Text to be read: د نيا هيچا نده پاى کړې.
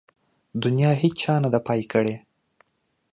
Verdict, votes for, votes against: accepted, 2, 0